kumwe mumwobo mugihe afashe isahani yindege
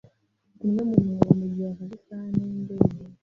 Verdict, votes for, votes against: rejected, 1, 2